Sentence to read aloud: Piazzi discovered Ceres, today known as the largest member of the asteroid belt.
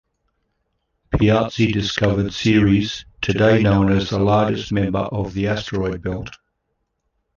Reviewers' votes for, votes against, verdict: 1, 2, rejected